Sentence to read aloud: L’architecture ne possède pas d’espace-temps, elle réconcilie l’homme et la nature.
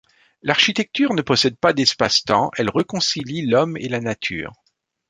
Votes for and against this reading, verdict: 1, 2, rejected